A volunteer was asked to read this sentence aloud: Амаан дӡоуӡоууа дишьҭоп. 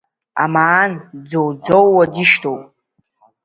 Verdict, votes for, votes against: accepted, 2, 0